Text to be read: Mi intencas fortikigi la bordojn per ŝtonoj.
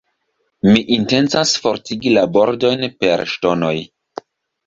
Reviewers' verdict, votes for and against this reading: rejected, 1, 2